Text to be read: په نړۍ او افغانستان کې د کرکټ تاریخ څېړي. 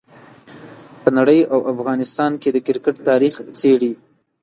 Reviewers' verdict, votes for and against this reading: accepted, 2, 0